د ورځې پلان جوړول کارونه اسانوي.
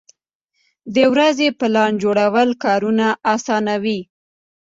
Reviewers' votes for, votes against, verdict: 2, 0, accepted